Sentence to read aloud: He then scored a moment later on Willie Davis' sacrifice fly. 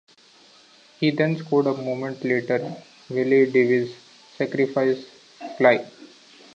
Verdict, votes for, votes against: rejected, 0, 2